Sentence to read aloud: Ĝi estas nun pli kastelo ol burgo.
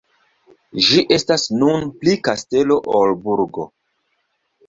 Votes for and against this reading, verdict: 2, 0, accepted